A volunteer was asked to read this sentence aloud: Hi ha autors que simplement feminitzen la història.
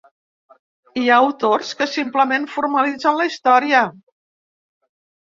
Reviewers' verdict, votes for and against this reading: rejected, 0, 2